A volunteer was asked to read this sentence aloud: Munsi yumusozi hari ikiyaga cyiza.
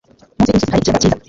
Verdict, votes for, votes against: rejected, 0, 2